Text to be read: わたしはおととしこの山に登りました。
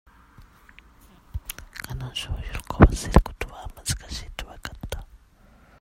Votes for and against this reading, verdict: 0, 2, rejected